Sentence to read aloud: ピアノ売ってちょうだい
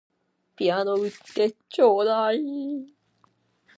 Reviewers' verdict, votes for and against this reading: rejected, 0, 2